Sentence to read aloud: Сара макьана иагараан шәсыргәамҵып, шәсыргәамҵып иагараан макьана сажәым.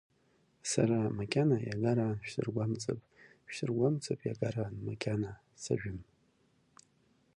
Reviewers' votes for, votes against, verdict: 2, 0, accepted